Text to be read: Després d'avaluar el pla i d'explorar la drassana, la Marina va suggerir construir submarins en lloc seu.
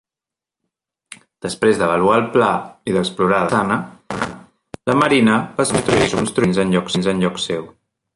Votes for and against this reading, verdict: 0, 2, rejected